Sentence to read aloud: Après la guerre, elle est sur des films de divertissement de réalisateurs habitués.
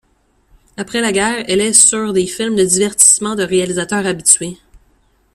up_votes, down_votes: 2, 1